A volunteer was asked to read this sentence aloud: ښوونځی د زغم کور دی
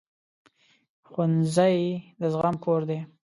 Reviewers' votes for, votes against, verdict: 2, 0, accepted